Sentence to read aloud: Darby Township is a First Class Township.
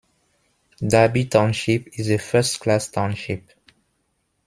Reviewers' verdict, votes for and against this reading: accepted, 2, 1